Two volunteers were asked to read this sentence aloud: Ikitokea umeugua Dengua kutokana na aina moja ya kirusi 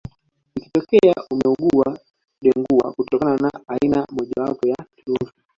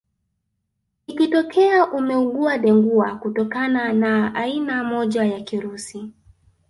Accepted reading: second